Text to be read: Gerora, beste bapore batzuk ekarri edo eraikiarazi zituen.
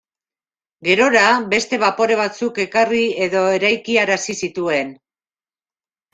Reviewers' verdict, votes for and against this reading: accepted, 2, 0